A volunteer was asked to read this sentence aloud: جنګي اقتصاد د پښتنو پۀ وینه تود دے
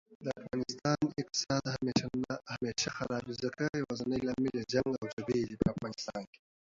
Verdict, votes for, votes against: rejected, 0, 2